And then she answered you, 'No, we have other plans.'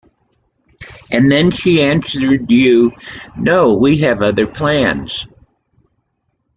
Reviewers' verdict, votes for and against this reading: accepted, 2, 1